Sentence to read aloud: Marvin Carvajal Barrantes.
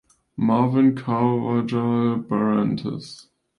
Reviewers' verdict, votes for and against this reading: accepted, 2, 1